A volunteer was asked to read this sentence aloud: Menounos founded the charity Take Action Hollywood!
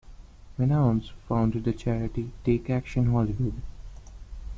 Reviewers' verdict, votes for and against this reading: rejected, 1, 2